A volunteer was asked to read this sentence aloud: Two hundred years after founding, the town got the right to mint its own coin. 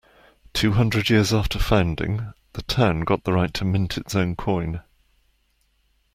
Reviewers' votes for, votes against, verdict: 2, 0, accepted